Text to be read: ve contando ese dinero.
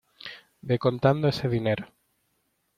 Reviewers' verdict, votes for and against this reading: accepted, 2, 0